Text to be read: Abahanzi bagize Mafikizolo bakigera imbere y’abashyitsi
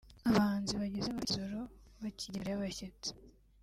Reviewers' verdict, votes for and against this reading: rejected, 1, 2